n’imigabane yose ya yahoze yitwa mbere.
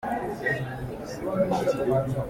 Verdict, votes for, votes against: rejected, 0, 2